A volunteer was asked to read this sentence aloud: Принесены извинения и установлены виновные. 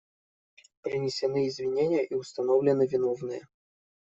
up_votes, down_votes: 2, 0